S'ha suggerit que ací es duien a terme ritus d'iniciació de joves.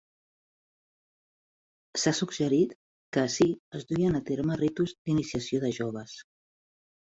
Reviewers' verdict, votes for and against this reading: accepted, 3, 0